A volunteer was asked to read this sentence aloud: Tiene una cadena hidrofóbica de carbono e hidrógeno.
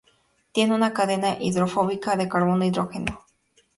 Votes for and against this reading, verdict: 2, 0, accepted